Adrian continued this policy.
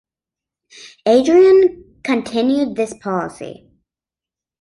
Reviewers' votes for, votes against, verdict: 2, 0, accepted